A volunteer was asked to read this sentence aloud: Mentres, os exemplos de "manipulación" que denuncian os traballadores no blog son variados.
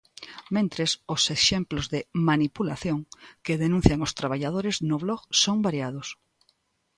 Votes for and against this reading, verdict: 2, 0, accepted